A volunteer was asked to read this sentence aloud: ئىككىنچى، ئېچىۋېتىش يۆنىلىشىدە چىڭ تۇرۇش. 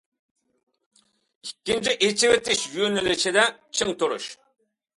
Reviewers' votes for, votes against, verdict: 2, 0, accepted